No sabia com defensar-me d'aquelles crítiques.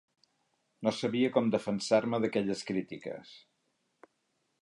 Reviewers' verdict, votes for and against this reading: accepted, 3, 0